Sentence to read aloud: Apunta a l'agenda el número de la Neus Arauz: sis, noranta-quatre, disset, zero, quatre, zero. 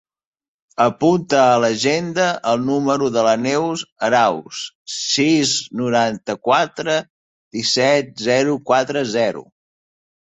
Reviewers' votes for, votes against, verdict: 2, 0, accepted